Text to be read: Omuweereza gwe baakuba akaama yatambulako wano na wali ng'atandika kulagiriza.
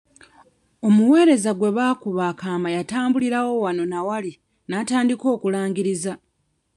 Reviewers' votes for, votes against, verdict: 1, 2, rejected